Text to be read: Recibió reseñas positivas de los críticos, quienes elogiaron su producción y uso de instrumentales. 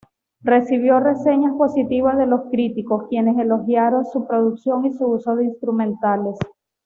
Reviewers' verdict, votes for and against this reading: rejected, 1, 2